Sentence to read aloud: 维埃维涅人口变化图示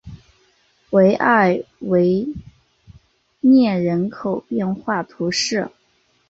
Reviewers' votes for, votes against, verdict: 3, 1, accepted